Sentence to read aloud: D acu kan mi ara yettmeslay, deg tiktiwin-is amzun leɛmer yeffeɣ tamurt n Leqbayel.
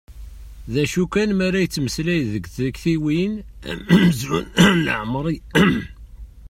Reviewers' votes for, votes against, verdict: 0, 2, rejected